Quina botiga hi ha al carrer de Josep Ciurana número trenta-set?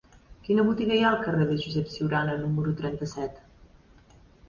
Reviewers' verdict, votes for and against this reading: accepted, 2, 0